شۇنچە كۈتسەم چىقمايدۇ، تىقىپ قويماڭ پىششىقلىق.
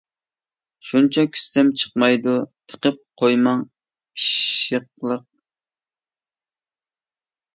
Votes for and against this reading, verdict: 2, 1, accepted